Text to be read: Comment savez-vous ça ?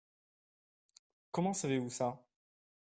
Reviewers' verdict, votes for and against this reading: accepted, 2, 0